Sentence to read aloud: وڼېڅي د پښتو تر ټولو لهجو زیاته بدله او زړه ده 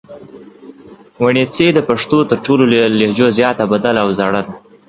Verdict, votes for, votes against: accepted, 2, 0